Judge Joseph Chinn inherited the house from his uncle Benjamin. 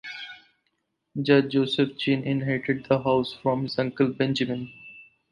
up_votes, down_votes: 4, 0